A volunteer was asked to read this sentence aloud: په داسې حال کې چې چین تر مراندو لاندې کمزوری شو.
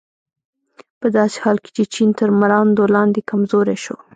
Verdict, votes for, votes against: rejected, 0, 2